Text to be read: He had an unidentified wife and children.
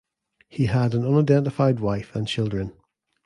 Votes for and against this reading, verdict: 2, 0, accepted